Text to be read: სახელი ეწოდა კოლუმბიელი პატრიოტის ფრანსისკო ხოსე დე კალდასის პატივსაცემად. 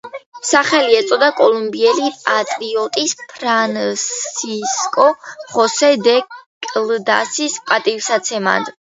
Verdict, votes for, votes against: rejected, 0, 2